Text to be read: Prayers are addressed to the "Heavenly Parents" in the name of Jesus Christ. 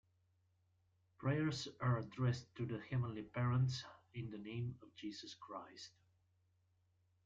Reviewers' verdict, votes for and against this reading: accepted, 2, 0